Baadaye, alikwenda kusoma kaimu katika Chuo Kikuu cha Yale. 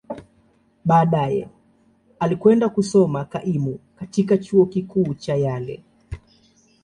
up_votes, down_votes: 2, 0